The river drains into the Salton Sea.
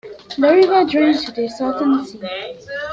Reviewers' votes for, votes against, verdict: 0, 2, rejected